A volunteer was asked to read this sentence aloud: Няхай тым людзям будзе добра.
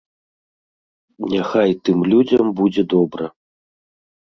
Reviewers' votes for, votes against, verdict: 2, 0, accepted